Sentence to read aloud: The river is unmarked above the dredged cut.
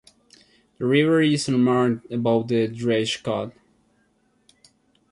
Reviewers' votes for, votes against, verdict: 0, 2, rejected